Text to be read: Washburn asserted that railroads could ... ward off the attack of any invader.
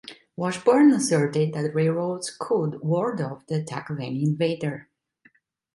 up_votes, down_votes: 1, 2